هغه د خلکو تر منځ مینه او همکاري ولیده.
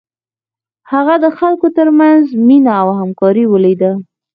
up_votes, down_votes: 4, 0